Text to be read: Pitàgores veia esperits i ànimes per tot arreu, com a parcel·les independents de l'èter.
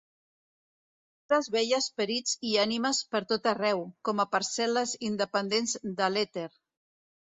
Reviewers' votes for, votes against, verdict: 0, 2, rejected